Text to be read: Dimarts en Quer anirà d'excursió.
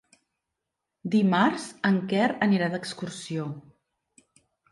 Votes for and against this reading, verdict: 3, 0, accepted